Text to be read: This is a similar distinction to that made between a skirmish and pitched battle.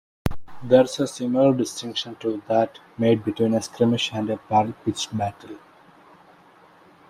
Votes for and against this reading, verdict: 1, 2, rejected